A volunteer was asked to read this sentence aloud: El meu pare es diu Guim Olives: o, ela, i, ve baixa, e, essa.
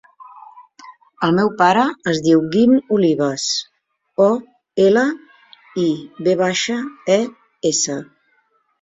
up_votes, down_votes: 3, 0